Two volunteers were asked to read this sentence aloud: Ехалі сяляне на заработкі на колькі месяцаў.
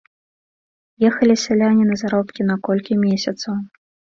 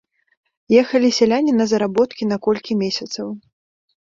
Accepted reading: second